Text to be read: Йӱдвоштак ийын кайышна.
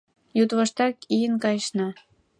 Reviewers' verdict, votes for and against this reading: accepted, 2, 0